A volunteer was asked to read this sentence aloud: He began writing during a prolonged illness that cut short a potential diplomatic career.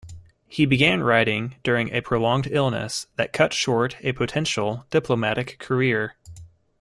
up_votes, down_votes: 2, 0